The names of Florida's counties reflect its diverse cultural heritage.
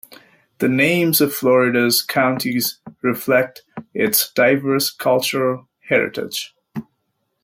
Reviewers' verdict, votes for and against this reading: accepted, 2, 0